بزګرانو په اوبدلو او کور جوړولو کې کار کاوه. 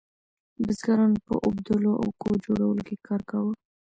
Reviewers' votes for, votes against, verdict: 2, 0, accepted